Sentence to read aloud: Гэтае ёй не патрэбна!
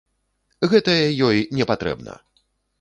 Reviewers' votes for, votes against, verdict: 2, 0, accepted